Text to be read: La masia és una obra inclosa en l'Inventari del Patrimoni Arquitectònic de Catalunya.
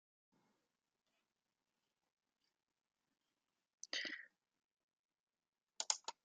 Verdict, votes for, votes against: rejected, 0, 2